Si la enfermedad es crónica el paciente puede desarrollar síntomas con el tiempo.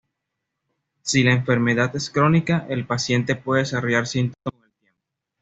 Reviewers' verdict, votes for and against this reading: rejected, 1, 2